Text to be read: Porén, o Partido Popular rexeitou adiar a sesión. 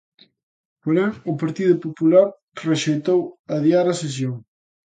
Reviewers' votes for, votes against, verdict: 2, 0, accepted